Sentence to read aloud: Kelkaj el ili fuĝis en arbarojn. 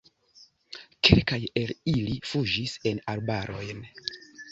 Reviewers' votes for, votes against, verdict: 1, 2, rejected